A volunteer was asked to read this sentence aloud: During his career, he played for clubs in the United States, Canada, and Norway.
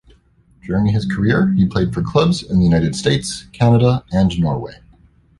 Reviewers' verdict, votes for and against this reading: accepted, 2, 0